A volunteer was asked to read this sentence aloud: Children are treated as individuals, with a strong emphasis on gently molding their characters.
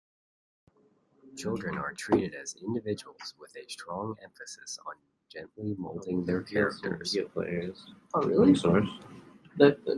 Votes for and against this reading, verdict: 0, 2, rejected